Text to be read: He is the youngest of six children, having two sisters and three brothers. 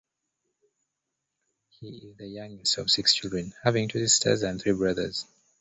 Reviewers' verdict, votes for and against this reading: rejected, 0, 2